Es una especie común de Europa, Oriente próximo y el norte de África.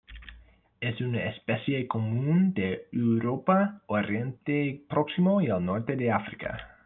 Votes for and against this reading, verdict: 1, 2, rejected